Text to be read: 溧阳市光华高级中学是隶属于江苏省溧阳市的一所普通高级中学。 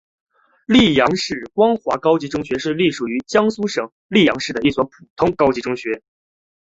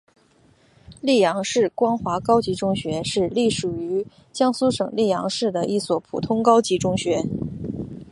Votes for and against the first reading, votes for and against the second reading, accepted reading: 0, 2, 2, 0, second